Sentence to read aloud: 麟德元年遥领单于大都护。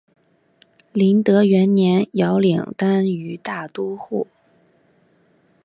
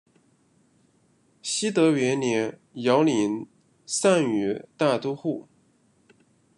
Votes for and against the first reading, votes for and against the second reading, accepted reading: 2, 0, 0, 2, first